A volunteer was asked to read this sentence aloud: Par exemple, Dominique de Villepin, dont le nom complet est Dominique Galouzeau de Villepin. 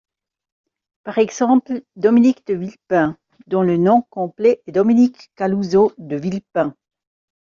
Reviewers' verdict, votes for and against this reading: accepted, 2, 0